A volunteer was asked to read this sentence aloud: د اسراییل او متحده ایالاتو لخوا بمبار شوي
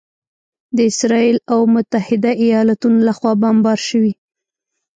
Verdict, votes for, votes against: rejected, 1, 2